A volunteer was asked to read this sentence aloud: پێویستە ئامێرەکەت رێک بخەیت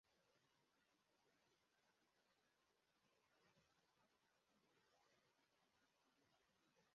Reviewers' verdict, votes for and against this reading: rejected, 1, 3